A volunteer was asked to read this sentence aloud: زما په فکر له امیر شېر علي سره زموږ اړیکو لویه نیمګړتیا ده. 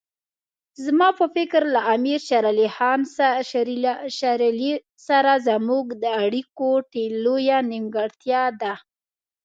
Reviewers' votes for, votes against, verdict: 1, 2, rejected